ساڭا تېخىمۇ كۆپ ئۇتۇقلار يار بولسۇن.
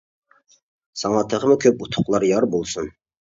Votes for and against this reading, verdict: 2, 0, accepted